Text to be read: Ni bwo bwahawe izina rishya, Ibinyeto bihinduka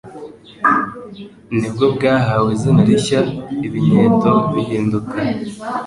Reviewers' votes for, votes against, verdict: 3, 0, accepted